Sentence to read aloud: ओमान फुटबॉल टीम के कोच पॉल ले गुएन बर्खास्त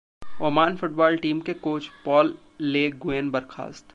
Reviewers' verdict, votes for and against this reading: rejected, 0, 2